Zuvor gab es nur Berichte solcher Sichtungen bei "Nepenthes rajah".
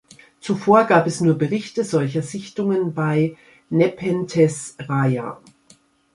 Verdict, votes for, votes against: accepted, 2, 0